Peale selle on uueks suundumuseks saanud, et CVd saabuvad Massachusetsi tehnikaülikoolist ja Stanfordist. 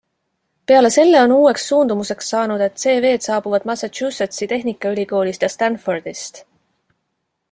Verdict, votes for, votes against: accepted, 2, 0